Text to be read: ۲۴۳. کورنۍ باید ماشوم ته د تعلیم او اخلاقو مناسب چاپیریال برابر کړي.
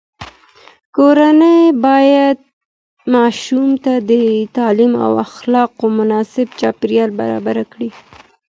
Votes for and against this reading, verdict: 0, 2, rejected